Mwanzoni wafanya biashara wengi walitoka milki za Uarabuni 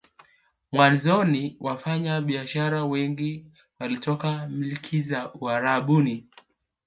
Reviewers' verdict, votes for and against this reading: accepted, 2, 0